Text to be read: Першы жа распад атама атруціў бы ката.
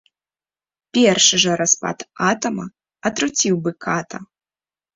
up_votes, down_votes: 0, 2